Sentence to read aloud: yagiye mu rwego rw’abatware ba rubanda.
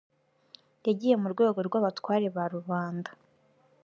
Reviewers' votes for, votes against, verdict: 2, 0, accepted